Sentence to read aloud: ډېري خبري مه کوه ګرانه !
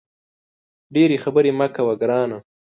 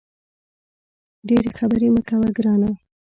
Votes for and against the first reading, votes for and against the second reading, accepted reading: 2, 0, 0, 2, first